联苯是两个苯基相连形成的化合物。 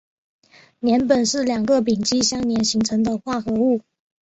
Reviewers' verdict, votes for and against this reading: accepted, 3, 1